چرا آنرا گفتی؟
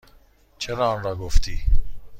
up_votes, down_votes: 2, 0